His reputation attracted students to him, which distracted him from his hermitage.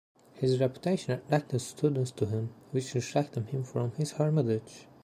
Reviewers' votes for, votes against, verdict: 1, 2, rejected